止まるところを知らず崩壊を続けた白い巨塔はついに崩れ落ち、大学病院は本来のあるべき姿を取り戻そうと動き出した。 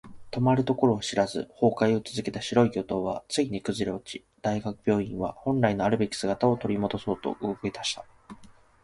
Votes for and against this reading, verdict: 1, 2, rejected